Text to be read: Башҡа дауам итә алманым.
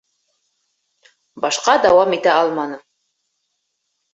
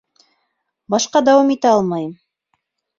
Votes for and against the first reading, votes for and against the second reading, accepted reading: 3, 1, 1, 2, first